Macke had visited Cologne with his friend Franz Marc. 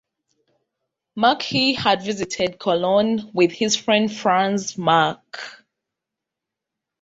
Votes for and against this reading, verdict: 1, 2, rejected